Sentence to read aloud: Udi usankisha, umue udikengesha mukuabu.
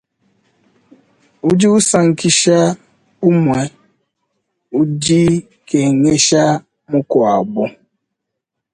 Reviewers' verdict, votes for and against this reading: rejected, 1, 2